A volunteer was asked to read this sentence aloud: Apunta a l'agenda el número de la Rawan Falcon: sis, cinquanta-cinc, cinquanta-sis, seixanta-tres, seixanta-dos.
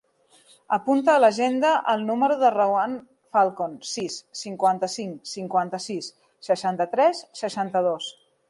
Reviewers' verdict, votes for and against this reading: rejected, 0, 2